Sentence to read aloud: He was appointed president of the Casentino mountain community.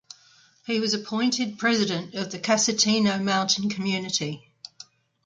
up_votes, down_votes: 2, 0